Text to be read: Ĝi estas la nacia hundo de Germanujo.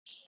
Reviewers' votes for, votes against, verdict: 1, 2, rejected